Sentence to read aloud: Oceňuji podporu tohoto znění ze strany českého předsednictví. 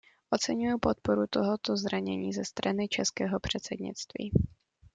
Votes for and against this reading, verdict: 0, 2, rejected